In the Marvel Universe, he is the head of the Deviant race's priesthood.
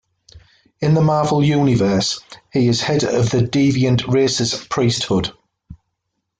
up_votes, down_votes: 2, 0